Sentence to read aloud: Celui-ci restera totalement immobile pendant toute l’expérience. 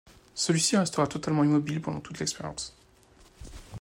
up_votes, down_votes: 2, 0